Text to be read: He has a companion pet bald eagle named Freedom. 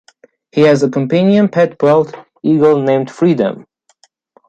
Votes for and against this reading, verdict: 1, 2, rejected